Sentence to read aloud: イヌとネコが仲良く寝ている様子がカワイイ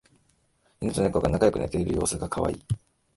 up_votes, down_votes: 2, 1